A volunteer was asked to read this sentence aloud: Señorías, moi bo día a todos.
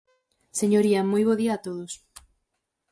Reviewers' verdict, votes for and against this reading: rejected, 0, 4